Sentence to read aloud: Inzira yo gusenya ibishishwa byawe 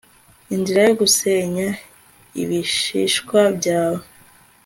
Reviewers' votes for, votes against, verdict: 2, 0, accepted